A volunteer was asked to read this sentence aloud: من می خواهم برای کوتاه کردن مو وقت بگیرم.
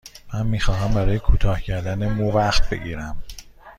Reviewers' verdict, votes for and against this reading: accepted, 2, 0